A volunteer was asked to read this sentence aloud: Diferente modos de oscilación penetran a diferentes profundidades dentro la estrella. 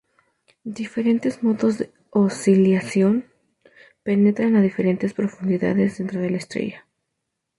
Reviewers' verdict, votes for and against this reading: rejected, 0, 2